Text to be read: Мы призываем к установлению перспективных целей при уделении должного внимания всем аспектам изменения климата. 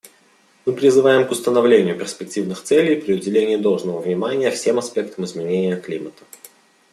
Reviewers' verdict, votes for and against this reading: accepted, 2, 0